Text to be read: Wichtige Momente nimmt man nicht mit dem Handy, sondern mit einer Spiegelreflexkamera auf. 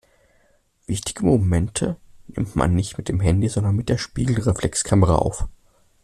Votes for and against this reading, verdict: 1, 2, rejected